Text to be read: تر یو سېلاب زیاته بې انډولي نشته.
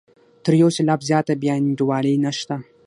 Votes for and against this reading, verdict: 6, 3, accepted